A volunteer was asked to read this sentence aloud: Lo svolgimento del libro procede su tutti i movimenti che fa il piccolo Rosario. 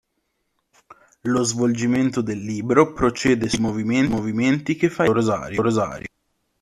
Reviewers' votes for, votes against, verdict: 0, 2, rejected